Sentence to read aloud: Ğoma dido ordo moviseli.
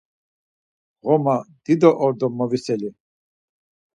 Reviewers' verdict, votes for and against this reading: accepted, 4, 0